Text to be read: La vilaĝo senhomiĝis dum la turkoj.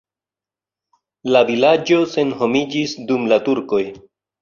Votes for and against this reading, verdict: 2, 0, accepted